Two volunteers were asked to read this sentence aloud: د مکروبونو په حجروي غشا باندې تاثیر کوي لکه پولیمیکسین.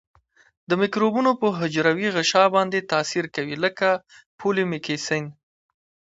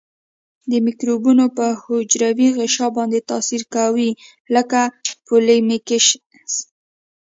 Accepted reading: first